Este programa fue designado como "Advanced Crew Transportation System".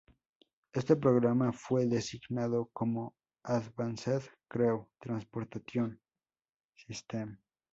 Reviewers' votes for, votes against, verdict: 2, 0, accepted